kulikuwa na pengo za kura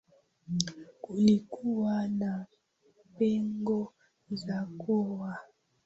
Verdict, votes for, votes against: rejected, 0, 2